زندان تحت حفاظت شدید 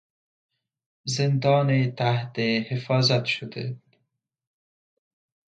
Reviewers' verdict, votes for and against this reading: rejected, 0, 2